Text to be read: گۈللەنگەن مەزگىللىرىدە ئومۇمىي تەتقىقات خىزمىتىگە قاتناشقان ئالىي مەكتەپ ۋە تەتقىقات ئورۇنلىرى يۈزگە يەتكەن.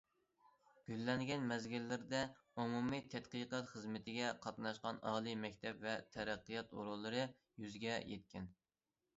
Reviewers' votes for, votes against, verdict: 0, 2, rejected